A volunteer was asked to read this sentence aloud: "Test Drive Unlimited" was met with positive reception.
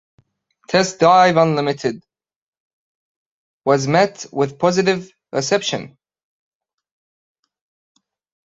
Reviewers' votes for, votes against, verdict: 2, 1, accepted